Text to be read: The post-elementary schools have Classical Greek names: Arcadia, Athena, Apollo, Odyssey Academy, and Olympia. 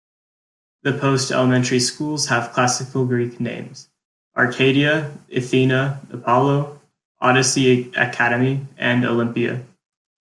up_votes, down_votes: 2, 0